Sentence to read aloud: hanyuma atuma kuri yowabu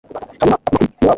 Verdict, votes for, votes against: rejected, 0, 2